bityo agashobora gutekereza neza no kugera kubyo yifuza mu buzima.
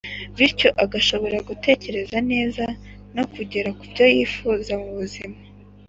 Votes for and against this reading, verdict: 2, 0, accepted